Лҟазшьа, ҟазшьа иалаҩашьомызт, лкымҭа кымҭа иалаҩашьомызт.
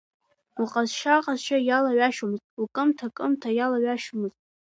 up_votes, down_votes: 2, 0